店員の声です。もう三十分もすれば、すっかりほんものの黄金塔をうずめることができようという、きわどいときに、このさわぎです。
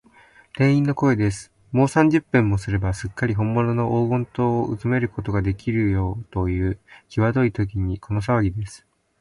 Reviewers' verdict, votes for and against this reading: rejected, 0, 2